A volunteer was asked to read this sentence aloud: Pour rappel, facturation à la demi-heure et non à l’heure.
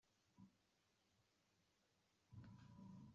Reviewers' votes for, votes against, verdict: 0, 2, rejected